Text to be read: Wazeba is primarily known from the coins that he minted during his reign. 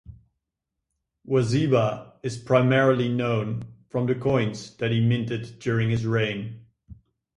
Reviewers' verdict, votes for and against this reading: accepted, 2, 0